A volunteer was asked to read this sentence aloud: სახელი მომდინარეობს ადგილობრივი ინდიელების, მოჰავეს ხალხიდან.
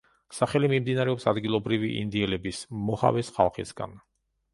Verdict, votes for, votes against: rejected, 0, 2